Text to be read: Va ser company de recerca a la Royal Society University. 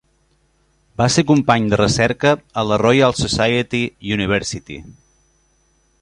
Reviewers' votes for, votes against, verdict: 3, 0, accepted